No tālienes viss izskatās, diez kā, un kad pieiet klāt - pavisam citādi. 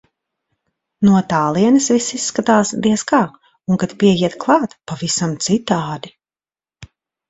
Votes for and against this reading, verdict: 2, 0, accepted